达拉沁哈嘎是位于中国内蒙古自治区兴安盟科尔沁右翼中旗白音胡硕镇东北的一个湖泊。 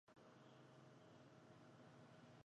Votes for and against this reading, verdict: 0, 3, rejected